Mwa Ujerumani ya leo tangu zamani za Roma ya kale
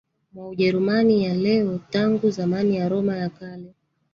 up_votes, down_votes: 1, 2